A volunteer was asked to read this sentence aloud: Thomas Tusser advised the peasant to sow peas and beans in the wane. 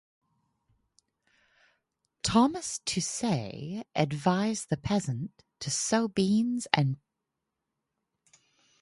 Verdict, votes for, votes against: rejected, 2, 4